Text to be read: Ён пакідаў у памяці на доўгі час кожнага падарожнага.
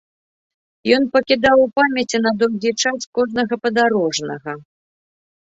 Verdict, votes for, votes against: accepted, 2, 0